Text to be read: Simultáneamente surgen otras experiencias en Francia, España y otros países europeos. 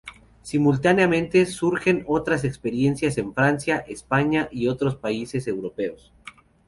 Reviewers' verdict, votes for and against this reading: accepted, 2, 0